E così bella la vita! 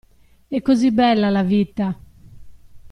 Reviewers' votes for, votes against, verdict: 0, 2, rejected